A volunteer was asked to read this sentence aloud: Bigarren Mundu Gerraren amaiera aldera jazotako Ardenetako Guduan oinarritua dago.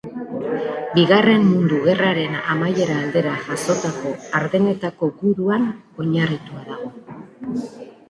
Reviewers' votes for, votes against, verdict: 2, 1, accepted